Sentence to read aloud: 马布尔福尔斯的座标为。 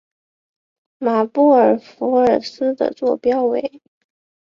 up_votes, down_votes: 2, 0